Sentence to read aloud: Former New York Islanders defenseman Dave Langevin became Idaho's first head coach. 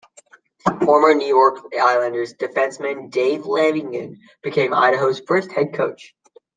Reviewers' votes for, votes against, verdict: 0, 2, rejected